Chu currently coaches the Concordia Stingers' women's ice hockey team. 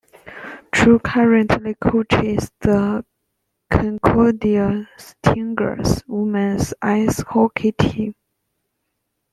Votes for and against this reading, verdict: 2, 0, accepted